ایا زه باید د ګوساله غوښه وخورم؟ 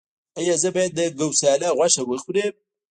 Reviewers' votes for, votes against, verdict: 1, 2, rejected